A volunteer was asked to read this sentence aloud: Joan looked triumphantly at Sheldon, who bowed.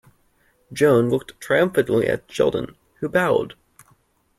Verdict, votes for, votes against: accepted, 2, 0